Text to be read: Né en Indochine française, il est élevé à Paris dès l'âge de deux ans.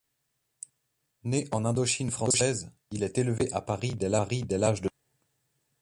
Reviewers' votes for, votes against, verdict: 0, 2, rejected